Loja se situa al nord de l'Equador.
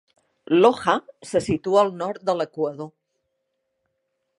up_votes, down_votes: 2, 0